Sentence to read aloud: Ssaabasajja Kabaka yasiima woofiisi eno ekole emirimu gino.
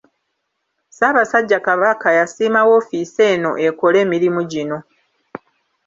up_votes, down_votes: 2, 0